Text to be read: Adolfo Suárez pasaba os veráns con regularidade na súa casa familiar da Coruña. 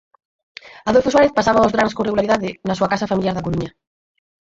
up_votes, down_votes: 0, 4